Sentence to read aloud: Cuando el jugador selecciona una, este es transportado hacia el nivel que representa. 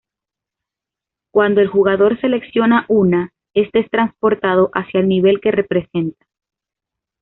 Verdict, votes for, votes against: accepted, 2, 0